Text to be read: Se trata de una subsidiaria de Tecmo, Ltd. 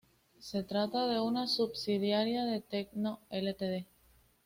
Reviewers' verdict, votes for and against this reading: accepted, 2, 0